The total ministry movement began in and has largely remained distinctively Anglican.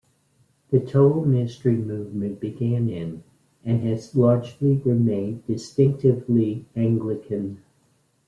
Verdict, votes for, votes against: accepted, 2, 0